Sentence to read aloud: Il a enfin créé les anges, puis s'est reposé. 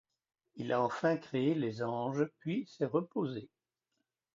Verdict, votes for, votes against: accepted, 2, 0